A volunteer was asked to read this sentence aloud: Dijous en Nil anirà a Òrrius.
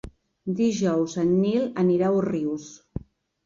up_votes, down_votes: 0, 2